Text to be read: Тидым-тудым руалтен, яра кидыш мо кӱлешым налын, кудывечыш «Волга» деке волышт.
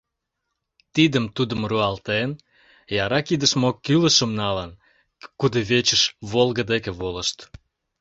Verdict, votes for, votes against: rejected, 1, 2